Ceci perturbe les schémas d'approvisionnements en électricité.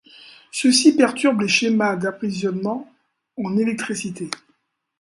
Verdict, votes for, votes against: rejected, 0, 2